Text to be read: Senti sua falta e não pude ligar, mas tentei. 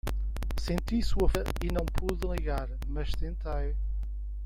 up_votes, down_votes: 0, 2